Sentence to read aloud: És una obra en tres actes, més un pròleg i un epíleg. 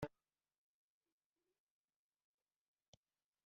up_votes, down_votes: 0, 2